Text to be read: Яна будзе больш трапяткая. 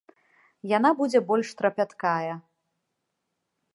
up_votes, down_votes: 2, 0